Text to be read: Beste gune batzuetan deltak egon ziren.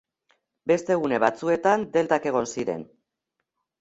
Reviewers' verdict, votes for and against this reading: accepted, 2, 0